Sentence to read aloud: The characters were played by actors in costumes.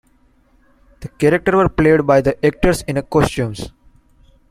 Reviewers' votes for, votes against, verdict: 1, 2, rejected